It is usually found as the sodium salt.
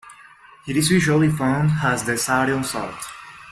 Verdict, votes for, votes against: rejected, 1, 2